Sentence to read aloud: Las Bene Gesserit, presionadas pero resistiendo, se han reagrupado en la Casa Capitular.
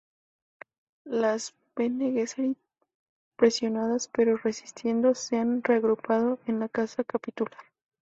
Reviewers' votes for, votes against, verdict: 0, 2, rejected